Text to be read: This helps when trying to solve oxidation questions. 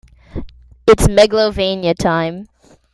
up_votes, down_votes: 0, 2